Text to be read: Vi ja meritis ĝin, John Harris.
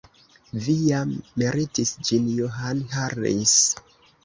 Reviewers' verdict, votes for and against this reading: rejected, 1, 2